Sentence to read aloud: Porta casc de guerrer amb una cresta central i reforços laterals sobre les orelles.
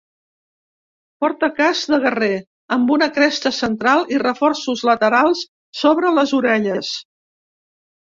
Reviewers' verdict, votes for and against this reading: accepted, 2, 0